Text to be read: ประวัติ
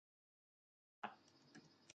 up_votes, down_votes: 0, 2